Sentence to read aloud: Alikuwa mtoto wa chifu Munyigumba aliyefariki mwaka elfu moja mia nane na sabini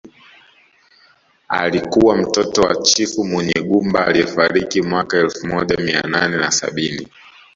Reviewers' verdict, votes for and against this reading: rejected, 1, 2